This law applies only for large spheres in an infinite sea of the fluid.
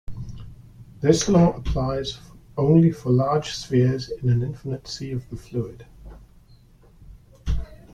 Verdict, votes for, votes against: rejected, 1, 2